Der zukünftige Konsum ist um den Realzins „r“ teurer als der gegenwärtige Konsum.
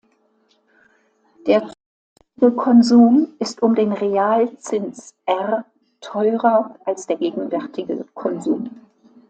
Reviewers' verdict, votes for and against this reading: rejected, 0, 2